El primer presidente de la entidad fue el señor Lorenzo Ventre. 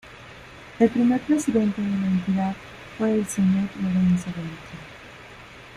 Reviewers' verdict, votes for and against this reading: rejected, 0, 2